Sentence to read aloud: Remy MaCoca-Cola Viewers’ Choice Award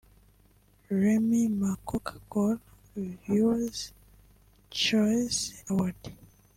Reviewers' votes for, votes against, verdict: 1, 2, rejected